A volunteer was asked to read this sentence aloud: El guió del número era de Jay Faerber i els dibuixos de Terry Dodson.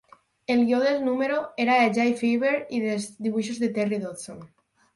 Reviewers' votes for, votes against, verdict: 0, 4, rejected